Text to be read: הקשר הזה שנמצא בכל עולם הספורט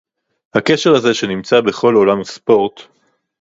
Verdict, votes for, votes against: rejected, 2, 2